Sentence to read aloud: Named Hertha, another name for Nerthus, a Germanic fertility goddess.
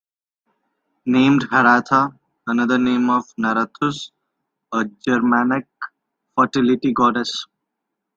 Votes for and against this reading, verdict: 1, 2, rejected